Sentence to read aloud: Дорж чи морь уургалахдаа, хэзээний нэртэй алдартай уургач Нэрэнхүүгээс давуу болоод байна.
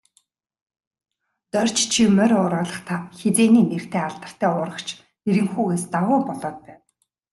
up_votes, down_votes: 2, 0